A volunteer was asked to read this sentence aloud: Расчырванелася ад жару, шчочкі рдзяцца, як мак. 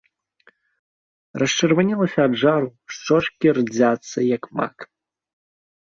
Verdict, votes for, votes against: accepted, 2, 0